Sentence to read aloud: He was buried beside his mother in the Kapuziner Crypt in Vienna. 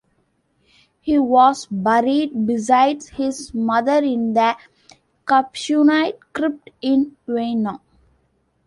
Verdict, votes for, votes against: rejected, 1, 2